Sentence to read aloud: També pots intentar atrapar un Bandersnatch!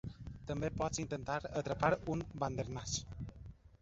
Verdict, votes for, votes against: rejected, 1, 2